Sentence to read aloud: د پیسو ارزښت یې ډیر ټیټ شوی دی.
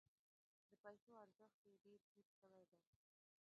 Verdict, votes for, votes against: rejected, 1, 2